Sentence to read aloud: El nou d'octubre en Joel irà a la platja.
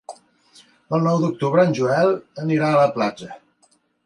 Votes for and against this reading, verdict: 0, 2, rejected